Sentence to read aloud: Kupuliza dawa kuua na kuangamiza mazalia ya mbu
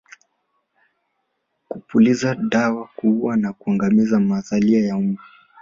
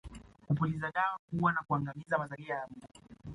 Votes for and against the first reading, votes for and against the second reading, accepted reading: 1, 2, 2, 1, second